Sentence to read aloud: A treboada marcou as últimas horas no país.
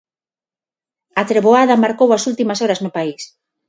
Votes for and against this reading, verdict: 6, 0, accepted